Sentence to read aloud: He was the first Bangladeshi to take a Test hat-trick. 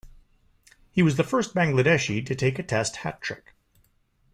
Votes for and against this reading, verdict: 2, 0, accepted